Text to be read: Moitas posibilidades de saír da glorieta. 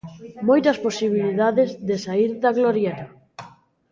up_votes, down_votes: 1, 2